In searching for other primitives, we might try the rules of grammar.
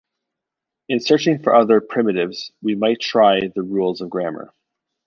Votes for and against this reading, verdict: 2, 0, accepted